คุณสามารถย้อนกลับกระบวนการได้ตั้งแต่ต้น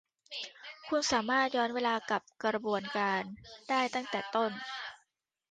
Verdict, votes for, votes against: rejected, 1, 2